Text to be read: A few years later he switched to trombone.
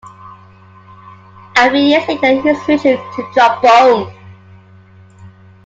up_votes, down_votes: 2, 1